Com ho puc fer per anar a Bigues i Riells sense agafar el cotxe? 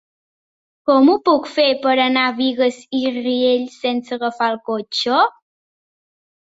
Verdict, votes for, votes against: accepted, 3, 0